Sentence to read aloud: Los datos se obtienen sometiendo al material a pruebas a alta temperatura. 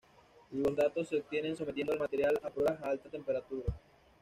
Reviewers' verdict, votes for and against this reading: accepted, 2, 1